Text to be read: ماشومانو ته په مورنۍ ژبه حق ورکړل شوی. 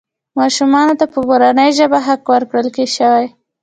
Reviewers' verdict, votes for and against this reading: accepted, 2, 0